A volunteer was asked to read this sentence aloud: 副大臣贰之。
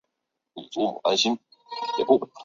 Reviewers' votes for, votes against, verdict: 0, 2, rejected